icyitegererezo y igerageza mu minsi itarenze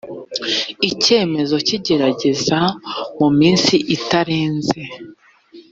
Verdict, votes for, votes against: rejected, 2, 3